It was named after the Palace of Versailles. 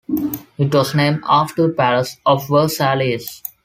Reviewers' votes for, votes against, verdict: 3, 1, accepted